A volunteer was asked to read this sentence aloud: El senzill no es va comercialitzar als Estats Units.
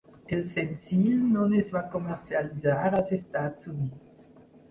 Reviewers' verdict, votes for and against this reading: rejected, 0, 3